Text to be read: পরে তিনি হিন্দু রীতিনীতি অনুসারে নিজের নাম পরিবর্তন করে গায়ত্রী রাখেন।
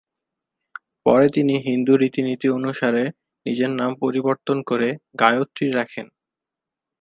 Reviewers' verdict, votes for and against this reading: accepted, 2, 0